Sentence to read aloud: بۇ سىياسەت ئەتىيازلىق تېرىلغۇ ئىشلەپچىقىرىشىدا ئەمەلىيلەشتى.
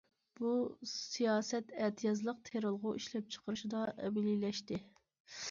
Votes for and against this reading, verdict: 2, 0, accepted